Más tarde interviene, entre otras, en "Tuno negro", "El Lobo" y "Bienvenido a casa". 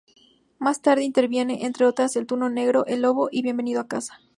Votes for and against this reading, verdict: 2, 2, rejected